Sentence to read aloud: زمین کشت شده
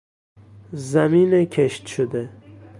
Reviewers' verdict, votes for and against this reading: accepted, 2, 1